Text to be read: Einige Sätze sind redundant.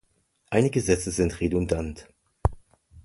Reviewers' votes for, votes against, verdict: 2, 0, accepted